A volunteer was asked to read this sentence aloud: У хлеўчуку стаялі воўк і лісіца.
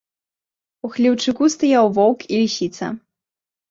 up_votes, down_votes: 1, 2